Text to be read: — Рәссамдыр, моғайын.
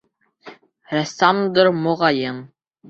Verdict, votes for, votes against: accepted, 2, 1